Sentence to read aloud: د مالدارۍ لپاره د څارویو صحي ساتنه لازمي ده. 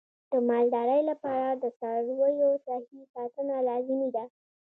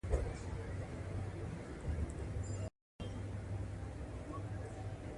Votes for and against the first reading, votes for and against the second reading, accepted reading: 2, 0, 1, 2, first